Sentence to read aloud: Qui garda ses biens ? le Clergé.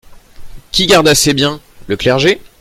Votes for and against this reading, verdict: 2, 0, accepted